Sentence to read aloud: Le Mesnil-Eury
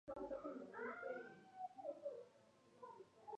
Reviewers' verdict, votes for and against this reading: rejected, 0, 2